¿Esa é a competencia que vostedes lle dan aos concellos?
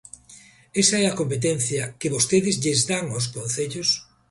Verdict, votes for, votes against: rejected, 1, 2